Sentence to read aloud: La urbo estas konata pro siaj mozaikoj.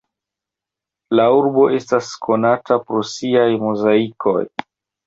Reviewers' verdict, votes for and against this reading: accepted, 2, 1